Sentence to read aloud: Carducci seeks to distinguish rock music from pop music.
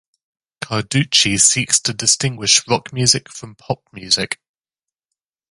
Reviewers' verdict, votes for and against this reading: accepted, 2, 0